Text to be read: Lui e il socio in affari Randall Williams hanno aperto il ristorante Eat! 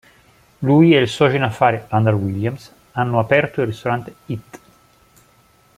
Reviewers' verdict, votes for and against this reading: accepted, 2, 0